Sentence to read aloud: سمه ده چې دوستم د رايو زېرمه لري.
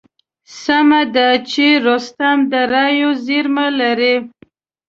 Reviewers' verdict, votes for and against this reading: rejected, 1, 3